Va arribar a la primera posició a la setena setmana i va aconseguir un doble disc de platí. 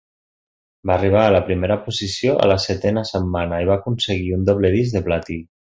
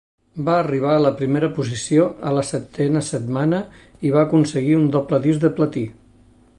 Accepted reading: second